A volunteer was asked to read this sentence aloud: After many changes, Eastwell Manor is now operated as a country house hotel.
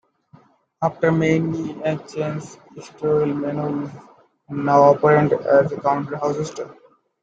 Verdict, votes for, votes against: rejected, 1, 2